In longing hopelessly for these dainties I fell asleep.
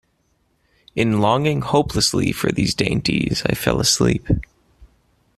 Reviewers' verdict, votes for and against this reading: accepted, 2, 0